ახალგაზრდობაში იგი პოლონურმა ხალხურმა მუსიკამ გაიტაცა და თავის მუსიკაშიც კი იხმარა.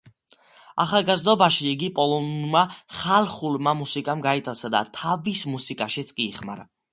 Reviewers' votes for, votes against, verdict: 2, 1, accepted